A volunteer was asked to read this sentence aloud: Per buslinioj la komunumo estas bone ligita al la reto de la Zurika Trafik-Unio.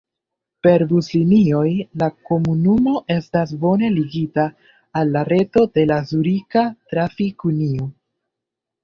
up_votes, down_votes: 2, 1